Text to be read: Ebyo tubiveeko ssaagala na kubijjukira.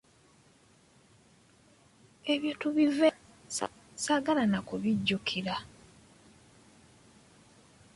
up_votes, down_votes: 1, 2